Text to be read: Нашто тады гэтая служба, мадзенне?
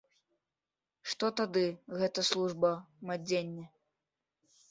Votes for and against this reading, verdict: 1, 2, rejected